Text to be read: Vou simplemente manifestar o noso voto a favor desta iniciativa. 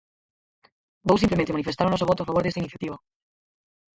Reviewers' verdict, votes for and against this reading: rejected, 0, 4